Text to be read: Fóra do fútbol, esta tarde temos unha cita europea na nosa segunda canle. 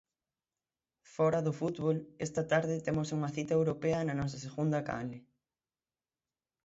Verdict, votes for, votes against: accepted, 6, 0